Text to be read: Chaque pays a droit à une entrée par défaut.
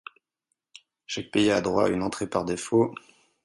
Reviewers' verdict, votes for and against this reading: accepted, 4, 0